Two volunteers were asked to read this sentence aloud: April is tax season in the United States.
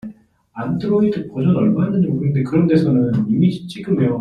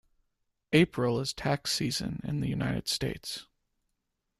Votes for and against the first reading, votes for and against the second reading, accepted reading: 0, 2, 2, 0, second